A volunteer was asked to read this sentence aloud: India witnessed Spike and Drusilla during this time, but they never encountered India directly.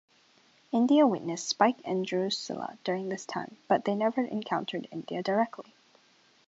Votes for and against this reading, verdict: 2, 0, accepted